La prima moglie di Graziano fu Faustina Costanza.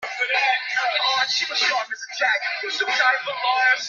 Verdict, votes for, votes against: rejected, 0, 2